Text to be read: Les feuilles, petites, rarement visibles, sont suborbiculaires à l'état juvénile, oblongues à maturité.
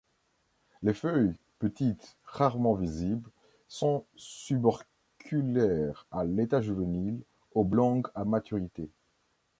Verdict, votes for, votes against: rejected, 1, 3